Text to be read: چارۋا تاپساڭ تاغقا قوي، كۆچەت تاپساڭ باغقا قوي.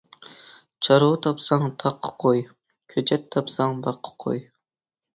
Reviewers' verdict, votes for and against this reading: accepted, 2, 0